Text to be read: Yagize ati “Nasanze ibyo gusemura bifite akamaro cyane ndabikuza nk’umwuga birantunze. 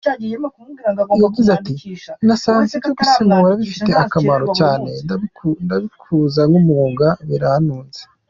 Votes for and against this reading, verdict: 1, 2, rejected